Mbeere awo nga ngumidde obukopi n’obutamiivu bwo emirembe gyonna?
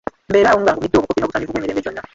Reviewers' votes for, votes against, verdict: 0, 2, rejected